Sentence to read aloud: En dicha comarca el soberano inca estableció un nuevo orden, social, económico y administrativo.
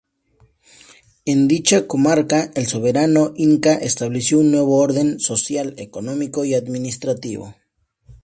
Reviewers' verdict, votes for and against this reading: accepted, 2, 0